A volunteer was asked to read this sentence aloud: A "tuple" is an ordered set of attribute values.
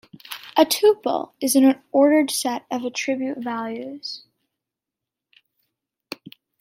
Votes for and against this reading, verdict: 1, 2, rejected